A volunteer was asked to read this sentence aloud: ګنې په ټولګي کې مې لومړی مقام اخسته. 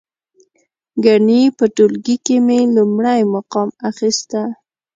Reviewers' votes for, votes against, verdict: 2, 0, accepted